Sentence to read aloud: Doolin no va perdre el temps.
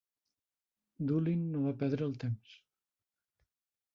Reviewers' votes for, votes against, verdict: 1, 2, rejected